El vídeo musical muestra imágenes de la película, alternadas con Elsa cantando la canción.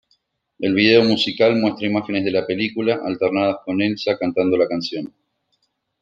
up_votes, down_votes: 2, 1